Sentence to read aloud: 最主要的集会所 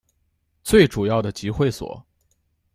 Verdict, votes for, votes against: accepted, 2, 0